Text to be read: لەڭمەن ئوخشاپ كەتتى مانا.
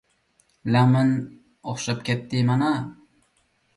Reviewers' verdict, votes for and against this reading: accepted, 2, 1